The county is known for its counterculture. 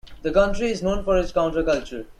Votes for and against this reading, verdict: 0, 2, rejected